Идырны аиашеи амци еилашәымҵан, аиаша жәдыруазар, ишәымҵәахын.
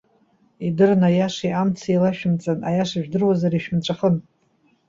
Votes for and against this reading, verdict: 2, 0, accepted